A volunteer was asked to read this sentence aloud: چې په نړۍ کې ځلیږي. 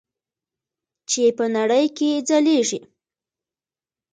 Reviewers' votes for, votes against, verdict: 2, 1, accepted